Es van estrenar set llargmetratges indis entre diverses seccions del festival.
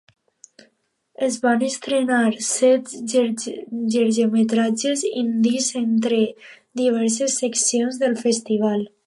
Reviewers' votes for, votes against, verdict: 0, 2, rejected